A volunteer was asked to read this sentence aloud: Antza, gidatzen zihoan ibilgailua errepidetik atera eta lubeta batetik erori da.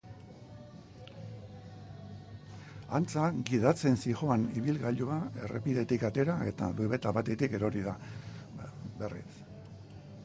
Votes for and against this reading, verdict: 0, 2, rejected